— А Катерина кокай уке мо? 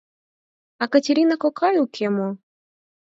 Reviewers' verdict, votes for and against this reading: accepted, 4, 0